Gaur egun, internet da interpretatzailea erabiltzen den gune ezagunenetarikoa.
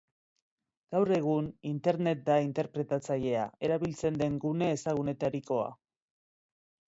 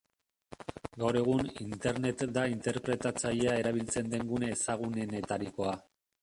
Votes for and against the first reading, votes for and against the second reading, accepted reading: 2, 0, 0, 2, first